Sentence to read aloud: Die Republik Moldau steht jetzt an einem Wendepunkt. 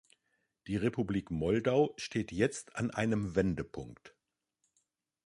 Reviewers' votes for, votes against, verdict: 2, 0, accepted